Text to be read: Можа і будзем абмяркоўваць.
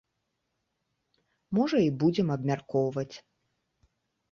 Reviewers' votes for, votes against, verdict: 2, 0, accepted